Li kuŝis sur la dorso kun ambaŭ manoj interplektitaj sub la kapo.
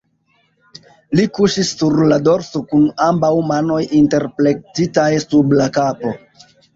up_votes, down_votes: 1, 2